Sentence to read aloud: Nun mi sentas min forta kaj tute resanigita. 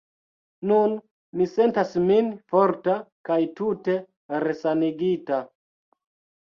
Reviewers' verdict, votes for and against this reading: accepted, 2, 0